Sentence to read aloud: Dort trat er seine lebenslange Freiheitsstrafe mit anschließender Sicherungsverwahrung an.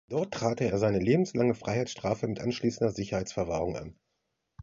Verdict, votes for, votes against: accepted, 2, 1